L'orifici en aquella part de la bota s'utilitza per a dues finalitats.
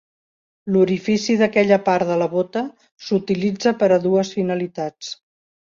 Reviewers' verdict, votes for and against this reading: rejected, 0, 2